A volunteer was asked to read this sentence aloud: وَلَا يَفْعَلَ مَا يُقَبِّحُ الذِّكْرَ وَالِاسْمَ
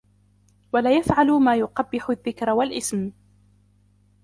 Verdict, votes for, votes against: accepted, 2, 1